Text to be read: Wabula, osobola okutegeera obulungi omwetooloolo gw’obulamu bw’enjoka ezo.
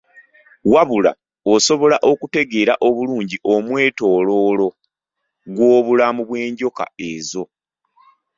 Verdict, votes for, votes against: accepted, 3, 0